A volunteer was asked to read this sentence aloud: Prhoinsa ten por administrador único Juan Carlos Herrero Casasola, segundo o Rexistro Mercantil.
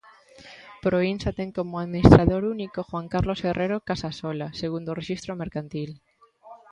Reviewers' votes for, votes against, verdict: 1, 2, rejected